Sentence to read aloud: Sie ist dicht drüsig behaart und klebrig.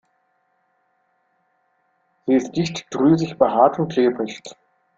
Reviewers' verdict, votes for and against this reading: rejected, 1, 2